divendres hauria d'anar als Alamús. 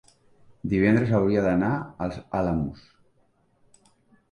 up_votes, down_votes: 1, 2